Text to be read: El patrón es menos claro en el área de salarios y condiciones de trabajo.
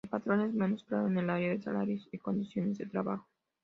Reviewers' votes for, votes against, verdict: 0, 2, rejected